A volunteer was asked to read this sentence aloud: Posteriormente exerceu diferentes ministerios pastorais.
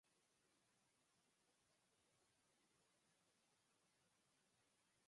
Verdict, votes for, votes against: rejected, 0, 4